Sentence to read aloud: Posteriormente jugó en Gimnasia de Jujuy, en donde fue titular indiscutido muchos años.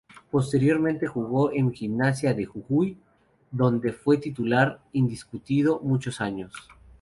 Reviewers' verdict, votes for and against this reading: rejected, 2, 4